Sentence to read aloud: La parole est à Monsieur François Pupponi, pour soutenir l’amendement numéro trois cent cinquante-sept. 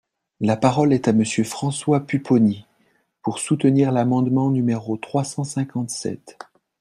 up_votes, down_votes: 2, 0